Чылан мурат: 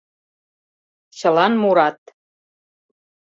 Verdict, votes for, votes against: accepted, 2, 0